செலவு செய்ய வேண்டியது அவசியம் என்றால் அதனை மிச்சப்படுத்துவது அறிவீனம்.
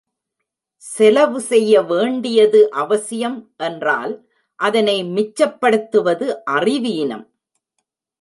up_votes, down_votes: 0, 2